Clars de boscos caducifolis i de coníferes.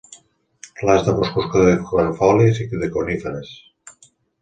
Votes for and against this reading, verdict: 1, 3, rejected